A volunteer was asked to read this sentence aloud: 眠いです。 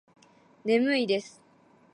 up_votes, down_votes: 3, 0